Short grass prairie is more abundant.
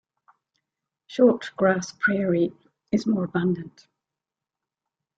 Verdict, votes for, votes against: accepted, 2, 0